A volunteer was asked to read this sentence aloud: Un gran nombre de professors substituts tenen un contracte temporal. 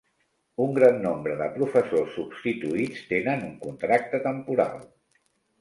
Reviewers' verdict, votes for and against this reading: rejected, 0, 2